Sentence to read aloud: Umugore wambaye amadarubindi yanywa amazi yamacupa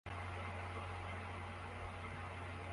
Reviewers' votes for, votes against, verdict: 0, 2, rejected